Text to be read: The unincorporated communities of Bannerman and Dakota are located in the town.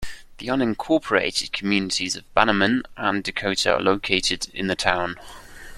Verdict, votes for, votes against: accepted, 2, 0